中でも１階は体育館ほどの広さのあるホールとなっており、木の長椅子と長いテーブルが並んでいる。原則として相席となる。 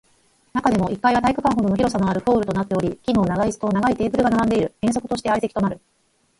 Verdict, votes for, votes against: rejected, 0, 2